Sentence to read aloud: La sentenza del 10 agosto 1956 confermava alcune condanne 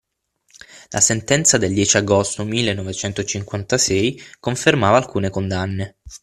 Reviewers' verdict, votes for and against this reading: rejected, 0, 2